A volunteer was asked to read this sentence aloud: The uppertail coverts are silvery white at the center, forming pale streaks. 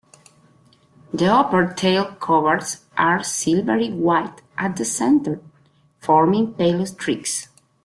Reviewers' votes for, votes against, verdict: 2, 1, accepted